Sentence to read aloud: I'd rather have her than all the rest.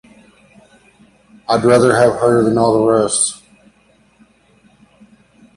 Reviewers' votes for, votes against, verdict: 2, 0, accepted